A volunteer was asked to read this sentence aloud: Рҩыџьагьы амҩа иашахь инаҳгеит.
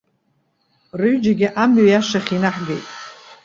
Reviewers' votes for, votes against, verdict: 2, 0, accepted